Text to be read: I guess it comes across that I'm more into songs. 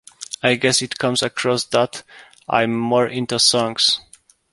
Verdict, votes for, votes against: accepted, 2, 0